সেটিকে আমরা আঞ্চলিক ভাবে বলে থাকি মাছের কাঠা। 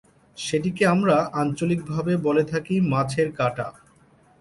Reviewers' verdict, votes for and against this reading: accepted, 3, 0